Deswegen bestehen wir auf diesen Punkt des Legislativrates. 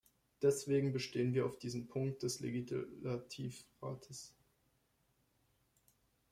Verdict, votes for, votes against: rejected, 1, 2